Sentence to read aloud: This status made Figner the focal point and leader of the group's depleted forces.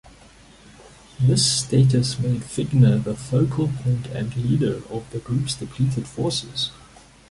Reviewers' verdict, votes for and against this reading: accepted, 2, 0